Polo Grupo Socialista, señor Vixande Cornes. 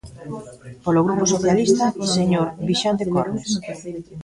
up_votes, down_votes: 0, 2